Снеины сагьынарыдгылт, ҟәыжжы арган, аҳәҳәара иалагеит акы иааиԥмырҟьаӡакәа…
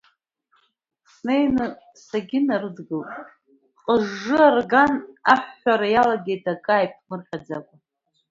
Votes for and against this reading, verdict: 0, 2, rejected